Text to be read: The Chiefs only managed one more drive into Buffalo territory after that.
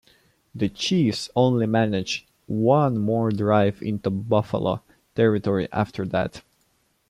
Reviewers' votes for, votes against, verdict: 1, 2, rejected